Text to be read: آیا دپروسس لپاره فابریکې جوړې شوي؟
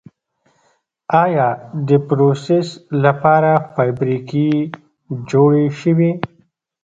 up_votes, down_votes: 2, 0